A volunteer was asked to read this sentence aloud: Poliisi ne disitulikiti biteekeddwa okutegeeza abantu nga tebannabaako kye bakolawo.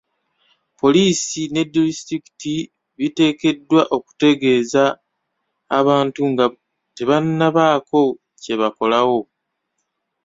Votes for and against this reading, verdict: 1, 2, rejected